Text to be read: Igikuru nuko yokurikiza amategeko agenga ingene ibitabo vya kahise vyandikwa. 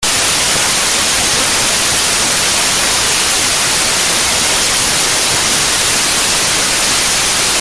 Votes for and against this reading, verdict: 0, 2, rejected